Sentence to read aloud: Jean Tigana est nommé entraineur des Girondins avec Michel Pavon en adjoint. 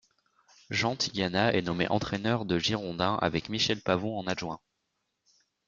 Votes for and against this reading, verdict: 0, 2, rejected